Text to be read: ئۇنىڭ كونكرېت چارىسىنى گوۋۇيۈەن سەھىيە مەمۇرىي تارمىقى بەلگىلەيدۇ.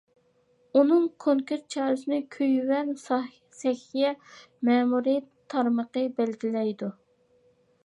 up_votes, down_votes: 0, 2